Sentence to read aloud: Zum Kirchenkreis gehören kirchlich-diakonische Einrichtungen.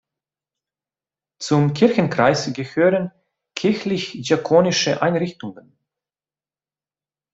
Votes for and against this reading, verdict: 2, 0, accepted